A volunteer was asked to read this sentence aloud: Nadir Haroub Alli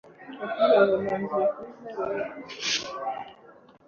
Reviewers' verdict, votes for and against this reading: rejected, 1, 2